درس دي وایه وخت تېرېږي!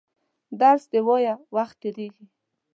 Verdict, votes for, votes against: accepted, 2, 0